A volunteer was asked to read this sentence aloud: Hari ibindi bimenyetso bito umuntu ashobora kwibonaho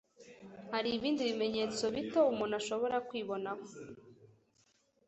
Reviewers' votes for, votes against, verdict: 2, 0, accepted